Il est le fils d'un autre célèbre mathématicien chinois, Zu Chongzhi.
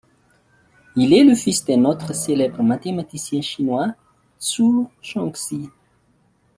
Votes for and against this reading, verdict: 1, 2, rejected